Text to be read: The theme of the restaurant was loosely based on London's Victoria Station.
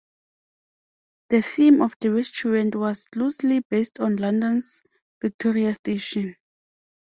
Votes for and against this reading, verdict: 2, 0, accepted